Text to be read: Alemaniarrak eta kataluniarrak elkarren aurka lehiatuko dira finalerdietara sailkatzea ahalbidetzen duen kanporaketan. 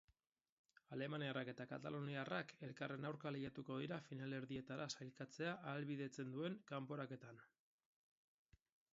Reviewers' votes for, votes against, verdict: 4, 0, accepted